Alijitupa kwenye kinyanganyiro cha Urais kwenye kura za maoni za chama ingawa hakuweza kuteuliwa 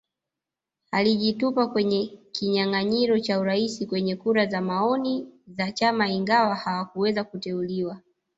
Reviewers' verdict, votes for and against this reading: rejected, 1, 2